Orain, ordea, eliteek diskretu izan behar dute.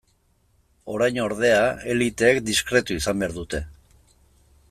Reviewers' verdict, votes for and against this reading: accepted, 2, 1